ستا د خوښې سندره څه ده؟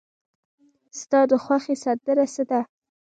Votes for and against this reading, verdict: 1, 2, rejected